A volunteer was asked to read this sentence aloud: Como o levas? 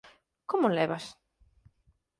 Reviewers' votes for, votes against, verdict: 4, 0, accepted